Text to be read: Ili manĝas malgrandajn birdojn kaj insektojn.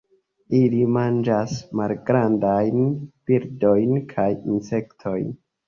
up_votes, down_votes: 2, 0